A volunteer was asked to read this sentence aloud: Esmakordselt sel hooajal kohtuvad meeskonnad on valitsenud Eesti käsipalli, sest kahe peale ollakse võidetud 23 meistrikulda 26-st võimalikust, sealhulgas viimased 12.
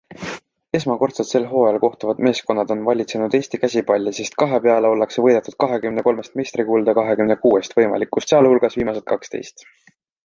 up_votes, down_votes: 0, 2